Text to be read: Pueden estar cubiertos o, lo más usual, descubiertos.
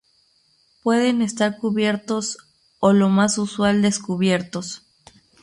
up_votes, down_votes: 0, 2